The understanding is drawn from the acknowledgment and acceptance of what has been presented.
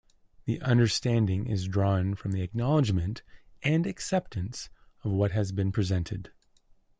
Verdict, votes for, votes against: accepted, 2, 0